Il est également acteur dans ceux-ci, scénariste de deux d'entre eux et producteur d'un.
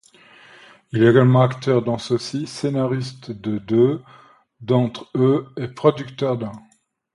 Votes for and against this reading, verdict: 2, 0, accepted